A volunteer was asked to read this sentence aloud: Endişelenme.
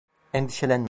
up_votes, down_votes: 1, 2